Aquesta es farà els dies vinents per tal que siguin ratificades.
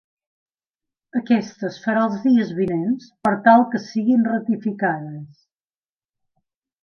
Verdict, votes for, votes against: accepted, 2, 0